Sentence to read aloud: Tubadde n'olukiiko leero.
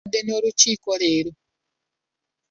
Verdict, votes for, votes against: rejected, 1, 2